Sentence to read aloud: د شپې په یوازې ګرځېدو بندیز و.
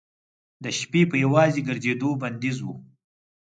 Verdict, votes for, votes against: accepted, 4, 0